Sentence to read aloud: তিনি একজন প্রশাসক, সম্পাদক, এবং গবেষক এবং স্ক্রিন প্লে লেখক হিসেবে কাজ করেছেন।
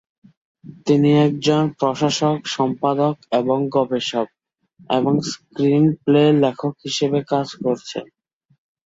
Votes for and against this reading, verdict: 1, 2, rejected